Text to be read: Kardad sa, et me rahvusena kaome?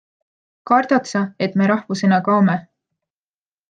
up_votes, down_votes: 2, 0